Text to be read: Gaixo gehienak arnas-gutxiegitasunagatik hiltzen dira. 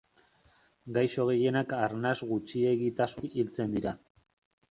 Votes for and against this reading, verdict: 0, 2, rejected